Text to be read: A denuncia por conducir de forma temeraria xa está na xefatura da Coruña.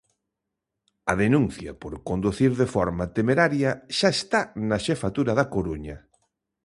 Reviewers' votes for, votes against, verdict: 2, 0, accepted